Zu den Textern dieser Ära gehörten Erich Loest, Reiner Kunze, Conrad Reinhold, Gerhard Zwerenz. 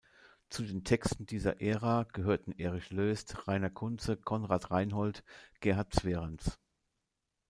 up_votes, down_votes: 1, 2